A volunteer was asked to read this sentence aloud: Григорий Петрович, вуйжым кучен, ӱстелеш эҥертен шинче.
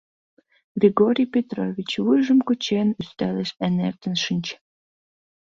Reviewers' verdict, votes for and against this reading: accepted, 2, 0